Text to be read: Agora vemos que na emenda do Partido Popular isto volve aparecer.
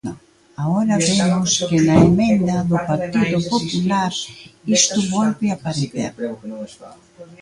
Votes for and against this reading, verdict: 0, 2, rejected